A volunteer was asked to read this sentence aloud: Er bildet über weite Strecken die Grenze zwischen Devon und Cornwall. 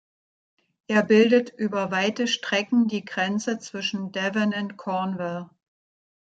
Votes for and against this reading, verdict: 1, 2, rejected